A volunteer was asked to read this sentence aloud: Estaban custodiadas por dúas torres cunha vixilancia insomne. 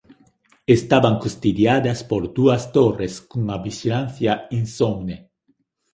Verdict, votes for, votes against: rejected, 1, 2